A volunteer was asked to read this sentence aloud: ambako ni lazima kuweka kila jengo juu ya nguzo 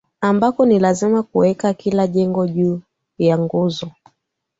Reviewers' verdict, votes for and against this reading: accepted, 15, 1